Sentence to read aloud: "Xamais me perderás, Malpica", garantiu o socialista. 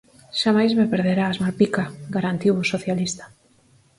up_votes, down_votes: 4, 0